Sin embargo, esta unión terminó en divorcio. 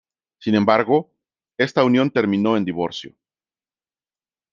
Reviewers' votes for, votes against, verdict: 2, 0, accepted